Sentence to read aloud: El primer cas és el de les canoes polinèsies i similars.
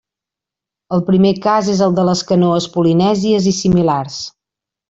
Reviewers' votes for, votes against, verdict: 3, 0, accepted